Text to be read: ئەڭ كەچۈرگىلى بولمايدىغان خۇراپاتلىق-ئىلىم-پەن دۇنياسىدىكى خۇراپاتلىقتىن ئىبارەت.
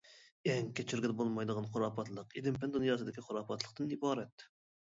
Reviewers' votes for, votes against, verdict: 2, 0, accepted